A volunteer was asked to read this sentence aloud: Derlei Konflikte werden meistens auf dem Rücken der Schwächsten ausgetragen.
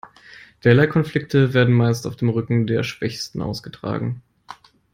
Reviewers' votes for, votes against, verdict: 2, 1, accepted